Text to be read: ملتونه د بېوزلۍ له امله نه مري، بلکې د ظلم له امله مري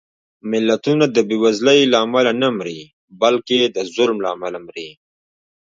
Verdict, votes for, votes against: rejected, 1, 2